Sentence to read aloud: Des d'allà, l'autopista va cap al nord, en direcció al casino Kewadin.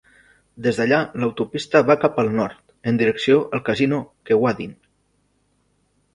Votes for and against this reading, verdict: 3, 0, accepted